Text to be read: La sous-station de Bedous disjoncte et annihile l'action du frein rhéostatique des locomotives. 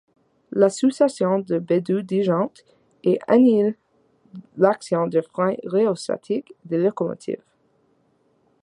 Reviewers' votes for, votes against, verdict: 1, 2, rejected